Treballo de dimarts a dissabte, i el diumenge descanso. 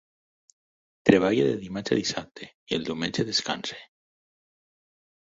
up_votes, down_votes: 0, 4